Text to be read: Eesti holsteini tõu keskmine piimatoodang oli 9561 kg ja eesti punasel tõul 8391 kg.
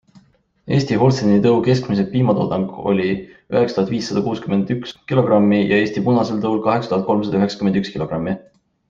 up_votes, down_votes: 0, 2